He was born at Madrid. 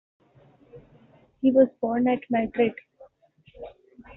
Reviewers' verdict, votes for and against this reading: accepted, 2, 0